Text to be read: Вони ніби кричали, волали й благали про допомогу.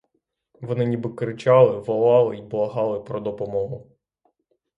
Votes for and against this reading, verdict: 0, 3, rejected